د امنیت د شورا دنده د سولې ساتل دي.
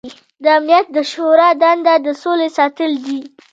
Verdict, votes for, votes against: accepted, 2, 1